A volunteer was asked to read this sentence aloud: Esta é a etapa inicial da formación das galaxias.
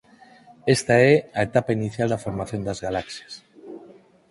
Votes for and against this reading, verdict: 4, 0, accepted